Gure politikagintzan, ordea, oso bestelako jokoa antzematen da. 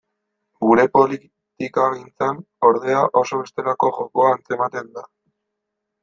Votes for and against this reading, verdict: 1, 2, rejected